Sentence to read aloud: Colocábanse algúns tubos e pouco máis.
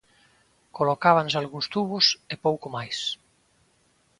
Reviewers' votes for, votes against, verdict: 2, 0, accepted